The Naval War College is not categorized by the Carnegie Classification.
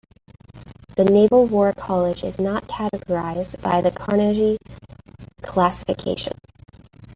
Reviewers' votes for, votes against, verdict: 0, 2, rejected